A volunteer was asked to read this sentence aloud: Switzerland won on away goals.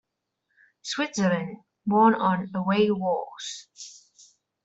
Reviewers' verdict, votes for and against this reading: rejected, 0, 2